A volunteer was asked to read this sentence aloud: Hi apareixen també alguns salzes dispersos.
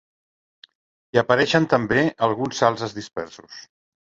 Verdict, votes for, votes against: accepted, 2, 0